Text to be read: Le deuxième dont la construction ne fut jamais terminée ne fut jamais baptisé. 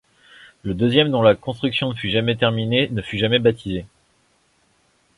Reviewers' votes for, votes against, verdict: 1, 2, rejected